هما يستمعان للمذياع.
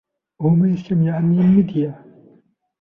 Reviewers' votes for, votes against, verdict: 0, 2, rejected